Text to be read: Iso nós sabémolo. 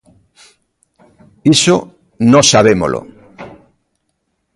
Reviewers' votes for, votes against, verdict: 2, 0, accepted